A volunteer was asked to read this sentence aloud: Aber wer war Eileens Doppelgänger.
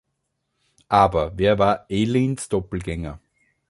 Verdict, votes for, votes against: accepted, 2, 0